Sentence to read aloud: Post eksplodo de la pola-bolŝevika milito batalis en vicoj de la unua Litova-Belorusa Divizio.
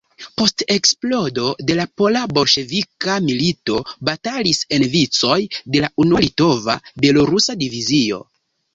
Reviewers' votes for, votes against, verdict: 2, 1, accepted